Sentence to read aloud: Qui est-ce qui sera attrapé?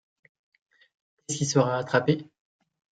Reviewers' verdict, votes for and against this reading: rejected, 0, 2